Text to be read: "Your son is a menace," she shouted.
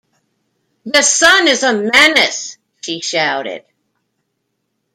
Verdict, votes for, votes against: rejected, 1, 2